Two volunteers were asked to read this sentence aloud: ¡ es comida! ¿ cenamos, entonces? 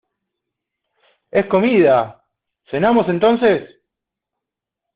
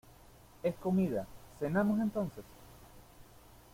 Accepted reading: second